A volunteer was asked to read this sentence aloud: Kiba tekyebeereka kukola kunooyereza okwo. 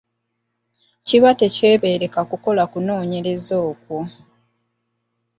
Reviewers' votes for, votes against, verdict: 2, 0, accepted